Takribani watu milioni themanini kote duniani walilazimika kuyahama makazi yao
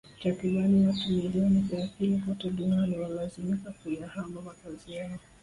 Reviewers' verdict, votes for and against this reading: rejected, 1, 2